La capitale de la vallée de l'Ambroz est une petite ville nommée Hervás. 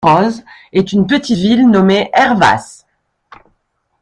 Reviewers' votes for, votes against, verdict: 1, 2, rejected